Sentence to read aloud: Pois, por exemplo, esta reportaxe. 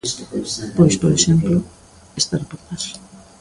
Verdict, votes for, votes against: rejected, 0, 2